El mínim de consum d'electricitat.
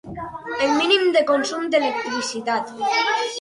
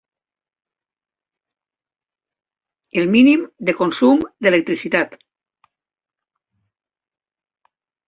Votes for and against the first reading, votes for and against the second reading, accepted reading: 0, 6, 5, 0, second